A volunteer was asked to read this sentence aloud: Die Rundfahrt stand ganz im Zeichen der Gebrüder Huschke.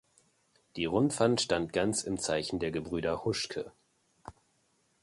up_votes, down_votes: 0, 2